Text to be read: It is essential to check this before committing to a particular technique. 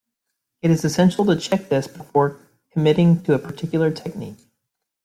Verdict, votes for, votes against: accepted, 2, 0